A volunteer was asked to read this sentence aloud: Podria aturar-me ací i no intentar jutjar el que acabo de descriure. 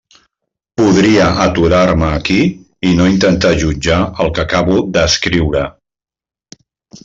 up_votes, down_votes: 0, 2